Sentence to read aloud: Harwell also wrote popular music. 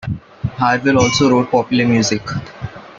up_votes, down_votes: 0, 2